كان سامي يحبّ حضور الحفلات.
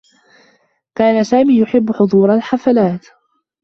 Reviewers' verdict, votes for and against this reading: accepted, 2, 1